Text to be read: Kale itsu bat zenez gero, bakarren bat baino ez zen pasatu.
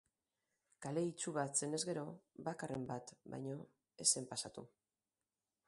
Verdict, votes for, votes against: rejected, 2, 2